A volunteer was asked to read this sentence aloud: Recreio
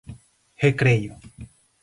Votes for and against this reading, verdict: 4, 0, accepted